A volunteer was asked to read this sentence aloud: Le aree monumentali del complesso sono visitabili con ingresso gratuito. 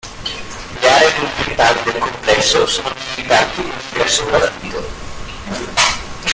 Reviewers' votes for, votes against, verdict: 1, 2, rejected